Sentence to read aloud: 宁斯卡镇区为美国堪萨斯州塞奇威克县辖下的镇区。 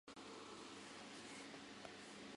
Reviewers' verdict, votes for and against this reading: rejected, 0, 2